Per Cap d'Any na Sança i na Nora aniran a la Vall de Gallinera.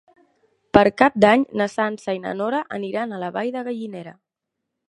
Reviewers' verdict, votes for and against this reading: accepted, 3, 0